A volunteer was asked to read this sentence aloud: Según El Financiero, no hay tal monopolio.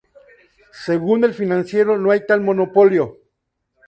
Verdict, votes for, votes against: accepted, 2, 0